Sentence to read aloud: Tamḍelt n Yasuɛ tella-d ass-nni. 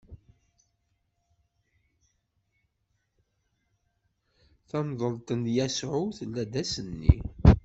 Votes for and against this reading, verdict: 1, 2, rejected